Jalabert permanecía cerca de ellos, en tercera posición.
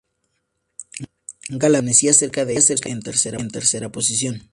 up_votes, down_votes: 2, 0